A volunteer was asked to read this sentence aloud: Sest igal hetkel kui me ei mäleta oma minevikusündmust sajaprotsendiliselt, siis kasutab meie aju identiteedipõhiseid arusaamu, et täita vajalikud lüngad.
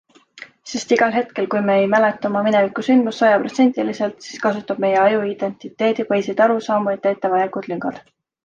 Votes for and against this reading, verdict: 2, 0, accepted